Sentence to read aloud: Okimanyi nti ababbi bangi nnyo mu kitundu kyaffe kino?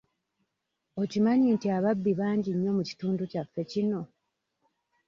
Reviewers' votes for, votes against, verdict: 2, 0, accepted